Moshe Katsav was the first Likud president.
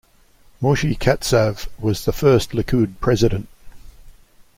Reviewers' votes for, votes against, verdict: 2, 0, accepted